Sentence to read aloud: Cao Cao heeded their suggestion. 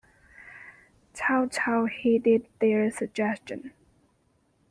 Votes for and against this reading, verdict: 2, 1, accepted